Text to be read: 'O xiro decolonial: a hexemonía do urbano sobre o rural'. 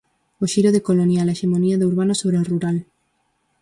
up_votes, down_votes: 6, 0